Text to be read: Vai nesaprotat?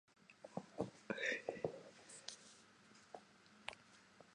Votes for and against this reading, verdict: 0, 2, rejected